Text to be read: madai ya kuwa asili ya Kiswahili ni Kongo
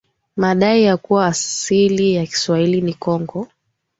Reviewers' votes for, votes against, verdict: 3, 0, accepted